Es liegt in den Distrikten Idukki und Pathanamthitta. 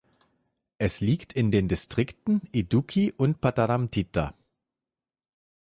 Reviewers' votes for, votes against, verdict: 1, 2, rejected